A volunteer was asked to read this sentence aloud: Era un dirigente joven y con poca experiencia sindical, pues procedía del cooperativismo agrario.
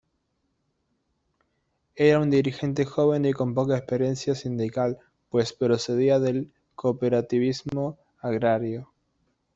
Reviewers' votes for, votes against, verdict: 1, 2, rejected